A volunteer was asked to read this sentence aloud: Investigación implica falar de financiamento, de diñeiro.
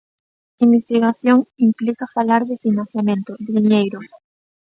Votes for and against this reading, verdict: 2, 1, accepted